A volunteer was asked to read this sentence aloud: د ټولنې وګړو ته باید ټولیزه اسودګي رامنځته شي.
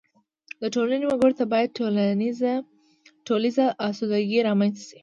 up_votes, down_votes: 2, 0